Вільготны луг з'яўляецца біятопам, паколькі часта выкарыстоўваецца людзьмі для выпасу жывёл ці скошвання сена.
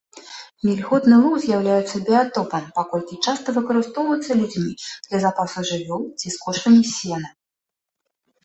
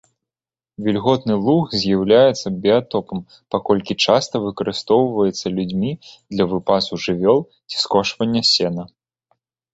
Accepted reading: second